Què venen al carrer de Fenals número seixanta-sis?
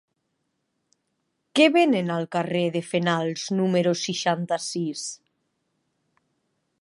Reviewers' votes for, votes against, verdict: 3, 0, accepted